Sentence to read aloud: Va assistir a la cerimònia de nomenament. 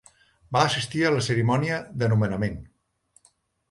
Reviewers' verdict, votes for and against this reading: accepted, 4, 0